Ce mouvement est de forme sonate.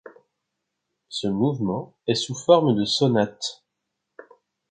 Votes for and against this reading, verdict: 2, 3, rejected